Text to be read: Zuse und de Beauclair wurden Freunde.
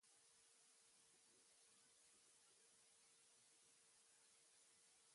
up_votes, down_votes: 0, 2